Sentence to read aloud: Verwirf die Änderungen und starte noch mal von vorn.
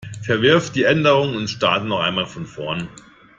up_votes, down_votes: 0, 2